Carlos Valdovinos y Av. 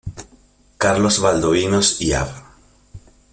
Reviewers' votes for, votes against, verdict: 1, 2, rejected